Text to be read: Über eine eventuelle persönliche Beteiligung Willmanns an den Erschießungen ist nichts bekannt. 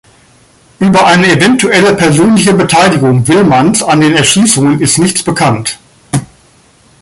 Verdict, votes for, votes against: accepted, 2, 0